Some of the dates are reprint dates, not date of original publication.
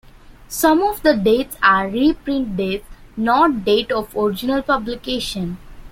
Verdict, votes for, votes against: accepted, 2, 1